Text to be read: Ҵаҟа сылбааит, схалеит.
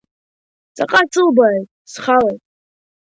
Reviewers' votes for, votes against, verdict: 0, 2, rejected